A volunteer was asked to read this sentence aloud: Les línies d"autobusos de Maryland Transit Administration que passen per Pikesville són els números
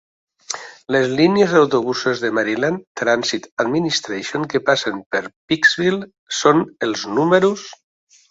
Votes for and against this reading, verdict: 2, 0, accepted